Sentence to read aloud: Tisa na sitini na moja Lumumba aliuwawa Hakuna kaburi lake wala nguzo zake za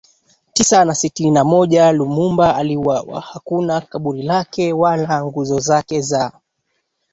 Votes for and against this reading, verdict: 1, 2, rejected